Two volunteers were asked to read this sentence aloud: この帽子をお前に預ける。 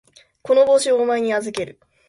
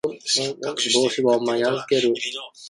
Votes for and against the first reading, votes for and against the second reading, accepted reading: 2, 0, 0, 2, first